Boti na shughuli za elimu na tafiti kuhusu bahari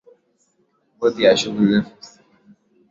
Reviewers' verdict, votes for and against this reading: rejected, 0, 2